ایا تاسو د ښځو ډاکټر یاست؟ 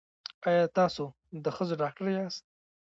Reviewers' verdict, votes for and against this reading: rejected, 1, 2